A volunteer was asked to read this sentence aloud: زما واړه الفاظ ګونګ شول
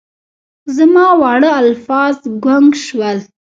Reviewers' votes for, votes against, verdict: 0, 2, rejected